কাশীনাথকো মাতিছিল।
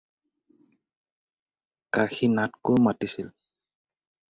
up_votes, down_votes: 0, 2